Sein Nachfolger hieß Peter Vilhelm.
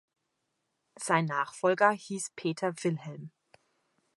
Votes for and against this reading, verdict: 0, 2, rejected